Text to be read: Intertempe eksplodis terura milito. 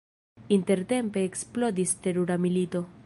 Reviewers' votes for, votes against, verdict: 0, 2, rejected